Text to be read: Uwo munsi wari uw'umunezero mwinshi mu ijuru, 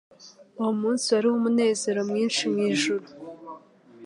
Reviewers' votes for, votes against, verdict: 2, 0, accepted